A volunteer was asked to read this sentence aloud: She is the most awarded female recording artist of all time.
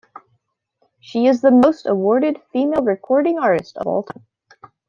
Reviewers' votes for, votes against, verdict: 0, 2, rejected